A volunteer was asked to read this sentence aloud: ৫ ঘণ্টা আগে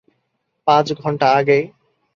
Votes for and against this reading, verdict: 0, 2, rejected